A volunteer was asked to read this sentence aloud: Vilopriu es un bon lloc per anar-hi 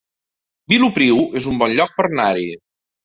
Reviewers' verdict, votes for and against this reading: rejected, 1, 3